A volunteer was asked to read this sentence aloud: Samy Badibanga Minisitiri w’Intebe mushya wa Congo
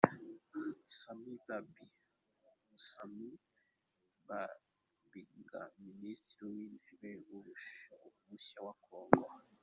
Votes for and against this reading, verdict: 0, 2, rejected